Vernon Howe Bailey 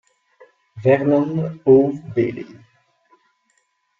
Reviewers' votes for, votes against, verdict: 0, 2, rejected